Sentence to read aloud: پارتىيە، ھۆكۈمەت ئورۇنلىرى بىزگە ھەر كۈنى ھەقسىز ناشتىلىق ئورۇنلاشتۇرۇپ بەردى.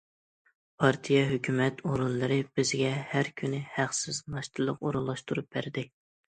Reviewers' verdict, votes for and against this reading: accepted, 2, 0